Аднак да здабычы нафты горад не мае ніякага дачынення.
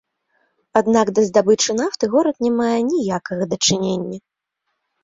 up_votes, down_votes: 1, 2